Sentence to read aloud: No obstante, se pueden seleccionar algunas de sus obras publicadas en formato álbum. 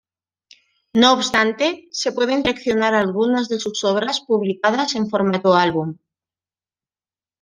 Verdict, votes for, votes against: accepted, 2, 0